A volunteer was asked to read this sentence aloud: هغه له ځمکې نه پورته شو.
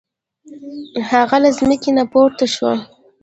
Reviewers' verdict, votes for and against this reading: rejected, 1, 2